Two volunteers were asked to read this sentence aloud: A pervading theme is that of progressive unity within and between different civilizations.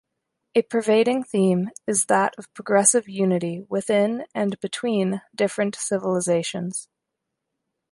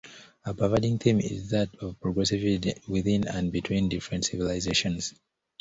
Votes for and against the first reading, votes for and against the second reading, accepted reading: 2, 0, 0, 2, first